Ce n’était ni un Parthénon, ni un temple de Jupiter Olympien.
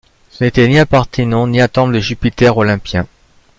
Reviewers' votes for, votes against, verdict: 1, 2, rejected